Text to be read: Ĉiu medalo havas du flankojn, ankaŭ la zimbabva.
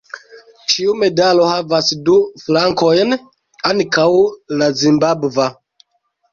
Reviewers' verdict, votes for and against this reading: rejected, 0, 2